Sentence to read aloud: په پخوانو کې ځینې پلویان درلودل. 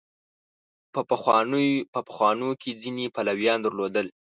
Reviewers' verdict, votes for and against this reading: rejected, 0, 2